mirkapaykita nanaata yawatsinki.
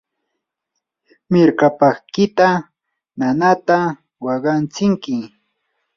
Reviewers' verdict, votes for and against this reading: rejected, 0, 2